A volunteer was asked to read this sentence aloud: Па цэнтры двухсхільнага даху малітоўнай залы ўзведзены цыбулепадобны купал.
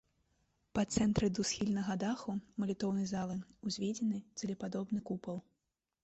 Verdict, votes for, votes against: rejected, 1, 2